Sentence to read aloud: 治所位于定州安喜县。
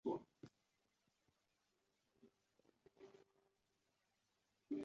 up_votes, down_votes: 0, 2